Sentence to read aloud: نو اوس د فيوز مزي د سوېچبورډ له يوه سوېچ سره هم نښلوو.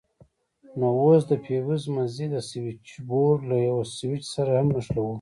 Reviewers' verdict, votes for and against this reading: accepted, 2, 0